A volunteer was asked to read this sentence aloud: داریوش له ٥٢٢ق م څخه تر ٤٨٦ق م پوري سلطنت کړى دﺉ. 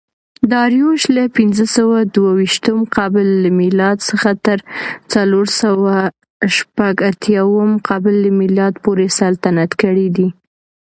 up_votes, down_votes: 0, 2